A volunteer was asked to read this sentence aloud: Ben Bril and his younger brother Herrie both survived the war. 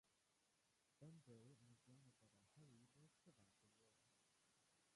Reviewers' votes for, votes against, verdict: 0, 3, rejected